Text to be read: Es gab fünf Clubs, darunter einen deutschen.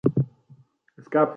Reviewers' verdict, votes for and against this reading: rejected, 0, 3